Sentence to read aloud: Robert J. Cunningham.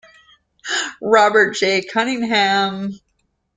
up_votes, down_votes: 2, 0